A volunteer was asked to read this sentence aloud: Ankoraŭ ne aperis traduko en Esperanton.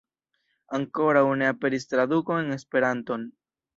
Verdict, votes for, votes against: rejected, 0, 2